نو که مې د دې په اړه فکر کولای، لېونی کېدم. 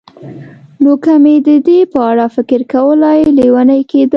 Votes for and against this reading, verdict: 2, 0, accepted